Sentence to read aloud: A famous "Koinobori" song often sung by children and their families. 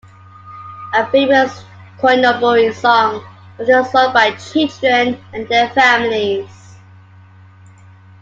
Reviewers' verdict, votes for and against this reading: accepted, 2, 1